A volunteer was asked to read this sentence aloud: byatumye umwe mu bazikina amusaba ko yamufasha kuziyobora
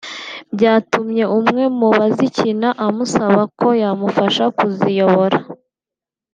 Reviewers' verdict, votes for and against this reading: rejected, 0, 2